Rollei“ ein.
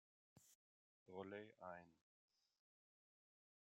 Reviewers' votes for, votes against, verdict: 0, 2, rejected